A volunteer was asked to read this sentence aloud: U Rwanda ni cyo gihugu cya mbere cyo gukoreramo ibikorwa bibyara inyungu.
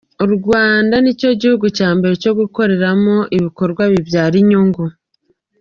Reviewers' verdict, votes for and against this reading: accepted, 2, 0